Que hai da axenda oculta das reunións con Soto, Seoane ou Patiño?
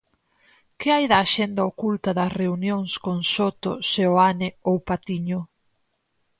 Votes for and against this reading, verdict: 4, 0, accepted